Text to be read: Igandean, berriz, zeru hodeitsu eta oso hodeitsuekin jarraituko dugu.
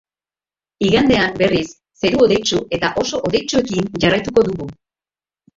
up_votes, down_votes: 2, 3